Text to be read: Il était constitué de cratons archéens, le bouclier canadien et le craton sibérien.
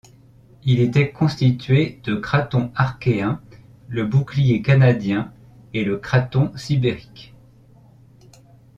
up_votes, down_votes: 0, 2